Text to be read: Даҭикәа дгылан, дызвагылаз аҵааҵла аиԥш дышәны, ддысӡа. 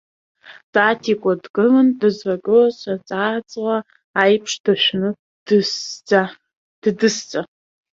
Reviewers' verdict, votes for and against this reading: rejected, 1, 2